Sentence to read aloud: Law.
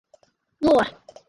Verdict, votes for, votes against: accepted, 4, 0